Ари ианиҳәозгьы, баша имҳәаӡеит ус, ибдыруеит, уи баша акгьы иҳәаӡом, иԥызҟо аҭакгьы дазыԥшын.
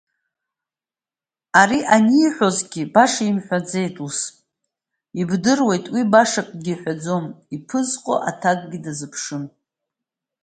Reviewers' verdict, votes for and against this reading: accepted, 2, 0